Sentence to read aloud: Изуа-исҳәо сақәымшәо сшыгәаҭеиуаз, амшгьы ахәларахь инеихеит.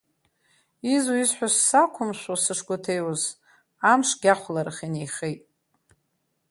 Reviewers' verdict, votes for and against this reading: rejected, 1, 2